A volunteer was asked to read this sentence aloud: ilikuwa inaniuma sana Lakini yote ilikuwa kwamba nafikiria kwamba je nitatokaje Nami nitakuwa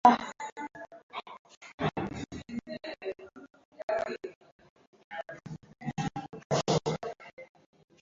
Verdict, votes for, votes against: rejected, 0, 2